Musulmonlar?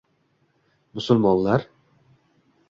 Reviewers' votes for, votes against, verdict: 2, 1, accepted